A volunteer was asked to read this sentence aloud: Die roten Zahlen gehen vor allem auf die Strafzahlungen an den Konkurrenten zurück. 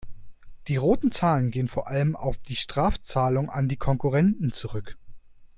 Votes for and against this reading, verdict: 0, 2, rejected